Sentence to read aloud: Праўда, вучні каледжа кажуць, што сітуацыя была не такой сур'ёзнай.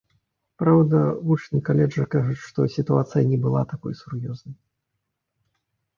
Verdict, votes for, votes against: accepted, 2, 0